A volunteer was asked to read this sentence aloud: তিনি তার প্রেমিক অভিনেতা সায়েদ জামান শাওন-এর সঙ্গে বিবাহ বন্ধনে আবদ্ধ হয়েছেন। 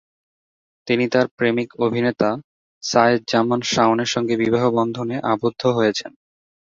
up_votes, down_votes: 2, 0